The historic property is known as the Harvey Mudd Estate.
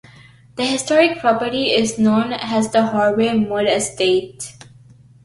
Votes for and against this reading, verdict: 2, 0, accepted